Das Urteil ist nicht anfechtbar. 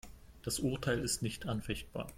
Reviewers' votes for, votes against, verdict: 2, 0, accepted